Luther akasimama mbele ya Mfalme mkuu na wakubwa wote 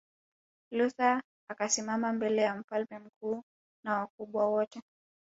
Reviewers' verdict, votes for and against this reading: rejected, 1, 2